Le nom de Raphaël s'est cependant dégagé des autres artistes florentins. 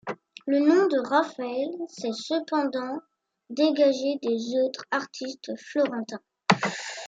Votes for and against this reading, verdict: 2, 0, accepted